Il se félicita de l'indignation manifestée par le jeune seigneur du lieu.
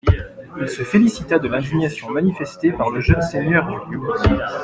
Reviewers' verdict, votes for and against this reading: accepted, 2, 0